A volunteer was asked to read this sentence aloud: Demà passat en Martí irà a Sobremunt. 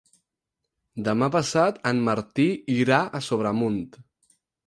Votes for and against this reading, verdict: 4, 0, accepted